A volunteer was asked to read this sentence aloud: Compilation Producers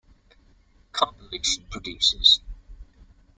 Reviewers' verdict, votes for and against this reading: rejected, 0, 2